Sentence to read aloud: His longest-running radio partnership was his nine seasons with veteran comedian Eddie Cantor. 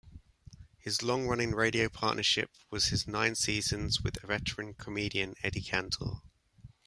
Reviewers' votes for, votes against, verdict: 1, 2, rejected